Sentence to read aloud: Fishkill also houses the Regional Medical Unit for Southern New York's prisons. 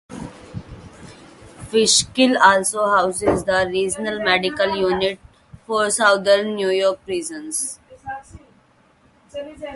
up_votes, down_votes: 2, 2